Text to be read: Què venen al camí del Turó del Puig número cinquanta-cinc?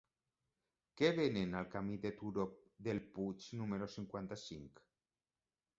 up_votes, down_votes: 3, 0